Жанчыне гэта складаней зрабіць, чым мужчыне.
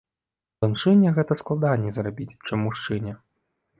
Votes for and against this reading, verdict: 2, 0, accepted